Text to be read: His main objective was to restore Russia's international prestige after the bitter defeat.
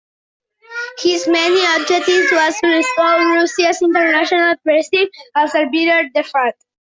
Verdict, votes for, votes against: rejected, 0, 2